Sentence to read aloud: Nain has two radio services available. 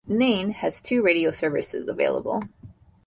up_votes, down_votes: 2, 0